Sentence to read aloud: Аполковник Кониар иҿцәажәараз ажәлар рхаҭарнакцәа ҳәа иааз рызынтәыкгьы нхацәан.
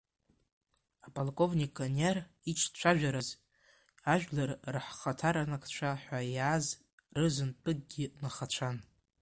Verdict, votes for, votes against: rejected, 0, 2